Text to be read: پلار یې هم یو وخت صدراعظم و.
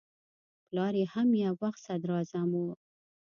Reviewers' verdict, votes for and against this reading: accepted, 2, 0